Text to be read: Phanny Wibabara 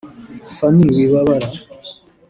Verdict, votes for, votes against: rejected, 0, 2